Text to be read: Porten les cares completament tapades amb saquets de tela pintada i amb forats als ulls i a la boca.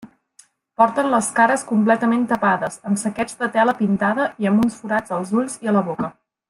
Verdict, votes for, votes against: rejected, 1, 2